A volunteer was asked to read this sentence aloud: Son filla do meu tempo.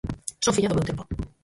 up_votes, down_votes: 0, 4